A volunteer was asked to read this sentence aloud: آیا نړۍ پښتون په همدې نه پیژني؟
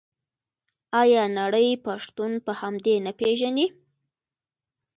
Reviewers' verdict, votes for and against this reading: rejected, 0, 2